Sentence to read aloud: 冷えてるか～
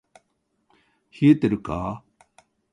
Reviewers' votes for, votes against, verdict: 2, 0, accepted